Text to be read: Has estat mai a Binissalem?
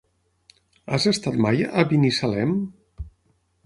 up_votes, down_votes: 9, 0